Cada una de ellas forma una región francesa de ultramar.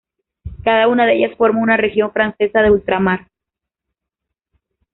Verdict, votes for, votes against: accepted, 3, 1